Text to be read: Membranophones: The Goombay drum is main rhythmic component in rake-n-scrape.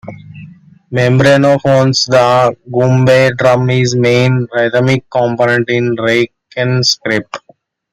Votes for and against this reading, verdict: 2, 1, accepted